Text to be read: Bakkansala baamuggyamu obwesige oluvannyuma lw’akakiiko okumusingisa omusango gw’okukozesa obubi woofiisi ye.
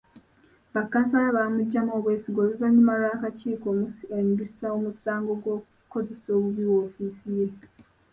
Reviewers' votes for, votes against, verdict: 1, 2, rejected